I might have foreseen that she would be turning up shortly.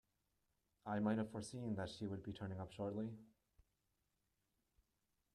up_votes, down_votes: 0, 2